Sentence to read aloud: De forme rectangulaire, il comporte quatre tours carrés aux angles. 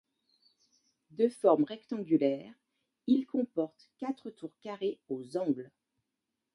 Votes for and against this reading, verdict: 2, 0, accepted